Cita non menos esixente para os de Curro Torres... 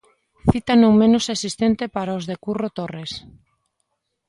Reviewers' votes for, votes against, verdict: 0, 2, rejected